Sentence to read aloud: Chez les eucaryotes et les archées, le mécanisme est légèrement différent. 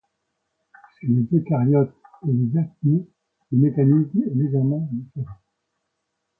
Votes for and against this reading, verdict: 2, 0, accepted